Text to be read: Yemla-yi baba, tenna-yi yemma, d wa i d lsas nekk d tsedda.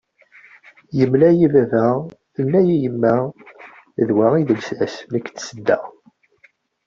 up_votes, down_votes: 2, 0